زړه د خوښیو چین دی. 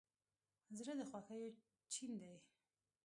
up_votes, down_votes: 1, 2